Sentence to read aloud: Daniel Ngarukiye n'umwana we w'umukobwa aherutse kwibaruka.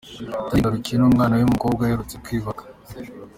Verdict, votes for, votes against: accepted, 2, 0